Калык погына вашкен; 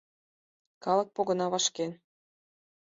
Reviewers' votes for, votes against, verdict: 4, 0, accepted